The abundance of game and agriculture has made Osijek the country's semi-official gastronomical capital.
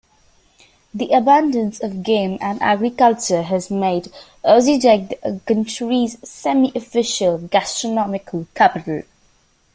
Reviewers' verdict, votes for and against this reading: rejected, 1, 2